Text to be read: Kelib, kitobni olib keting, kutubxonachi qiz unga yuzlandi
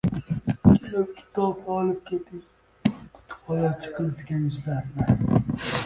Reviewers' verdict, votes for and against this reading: rejected, 0, 2